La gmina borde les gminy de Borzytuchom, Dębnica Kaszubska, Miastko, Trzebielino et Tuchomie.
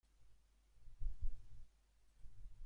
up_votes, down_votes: 0, 2